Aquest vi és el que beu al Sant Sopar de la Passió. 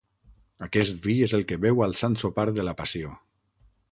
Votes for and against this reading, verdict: 9, 0, accepted